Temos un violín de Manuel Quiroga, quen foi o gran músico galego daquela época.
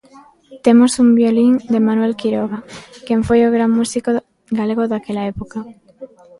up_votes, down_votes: 0, 2